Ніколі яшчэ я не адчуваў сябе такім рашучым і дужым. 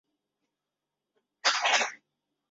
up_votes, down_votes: 0, 3